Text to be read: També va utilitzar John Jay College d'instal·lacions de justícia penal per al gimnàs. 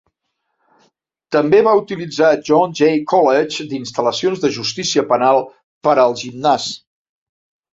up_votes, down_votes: 2, 0